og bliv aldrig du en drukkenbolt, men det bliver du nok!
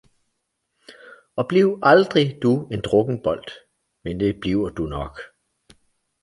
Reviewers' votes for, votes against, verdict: 2, 0, accepted